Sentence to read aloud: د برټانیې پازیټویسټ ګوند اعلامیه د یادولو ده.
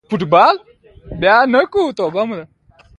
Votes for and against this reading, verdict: 3, 0, accepted